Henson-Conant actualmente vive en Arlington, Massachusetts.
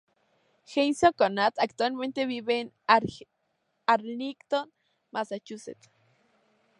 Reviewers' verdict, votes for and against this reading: rejected, 0, 2